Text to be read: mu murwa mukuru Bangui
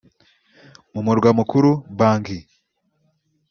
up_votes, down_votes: 0, 2